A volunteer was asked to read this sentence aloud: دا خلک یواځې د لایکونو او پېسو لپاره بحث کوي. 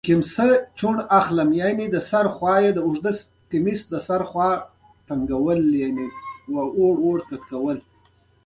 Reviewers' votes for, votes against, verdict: 0, 2, rejected